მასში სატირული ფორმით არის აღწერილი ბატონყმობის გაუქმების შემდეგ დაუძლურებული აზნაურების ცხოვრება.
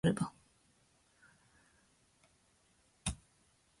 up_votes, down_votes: 0, 2